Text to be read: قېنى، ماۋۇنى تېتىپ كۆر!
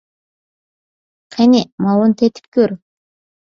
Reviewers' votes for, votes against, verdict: 2, 0, accepted